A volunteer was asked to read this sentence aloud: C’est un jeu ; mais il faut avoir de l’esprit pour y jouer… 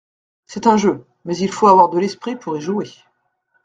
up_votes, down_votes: 2, 0